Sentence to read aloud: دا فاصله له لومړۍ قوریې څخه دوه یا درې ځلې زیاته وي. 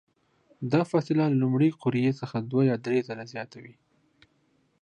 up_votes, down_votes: 2, 0